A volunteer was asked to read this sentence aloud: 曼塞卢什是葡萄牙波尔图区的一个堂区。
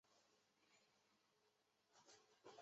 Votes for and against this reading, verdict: 0, 3, rejected